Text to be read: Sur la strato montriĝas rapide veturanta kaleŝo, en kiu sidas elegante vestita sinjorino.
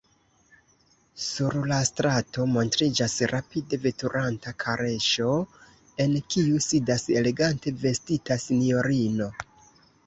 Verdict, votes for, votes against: rejected, 0, 2